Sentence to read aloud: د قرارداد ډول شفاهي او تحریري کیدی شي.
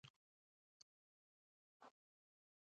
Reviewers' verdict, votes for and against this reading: rejected, 0, 2